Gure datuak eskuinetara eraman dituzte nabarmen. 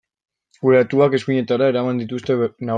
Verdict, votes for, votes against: rejected, 0, 2